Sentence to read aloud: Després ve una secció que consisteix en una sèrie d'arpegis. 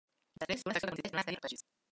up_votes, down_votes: 0, 2